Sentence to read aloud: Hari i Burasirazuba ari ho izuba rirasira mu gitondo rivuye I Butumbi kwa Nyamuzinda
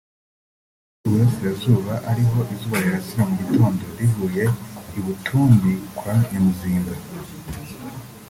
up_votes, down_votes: 2, 1